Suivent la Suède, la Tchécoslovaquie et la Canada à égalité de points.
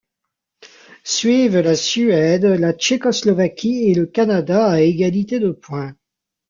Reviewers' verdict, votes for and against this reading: rejected, 0, 2